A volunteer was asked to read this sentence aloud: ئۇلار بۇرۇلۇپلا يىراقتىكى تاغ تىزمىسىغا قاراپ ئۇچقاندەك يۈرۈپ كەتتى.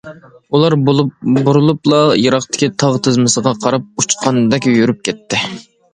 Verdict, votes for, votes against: rejected, 0, 2